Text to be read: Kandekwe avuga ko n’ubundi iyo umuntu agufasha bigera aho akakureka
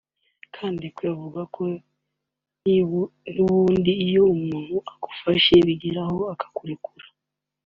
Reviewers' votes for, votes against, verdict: 0, 2, rejected